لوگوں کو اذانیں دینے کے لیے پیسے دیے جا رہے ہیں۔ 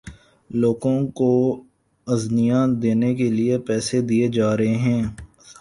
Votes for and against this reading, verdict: 2, 4, rejected